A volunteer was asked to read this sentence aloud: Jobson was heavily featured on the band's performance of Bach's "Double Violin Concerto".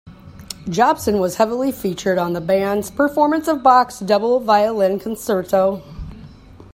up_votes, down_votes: 0, 2